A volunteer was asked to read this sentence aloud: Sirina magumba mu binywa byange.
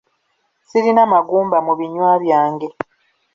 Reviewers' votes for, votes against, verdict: 2, 1, accepted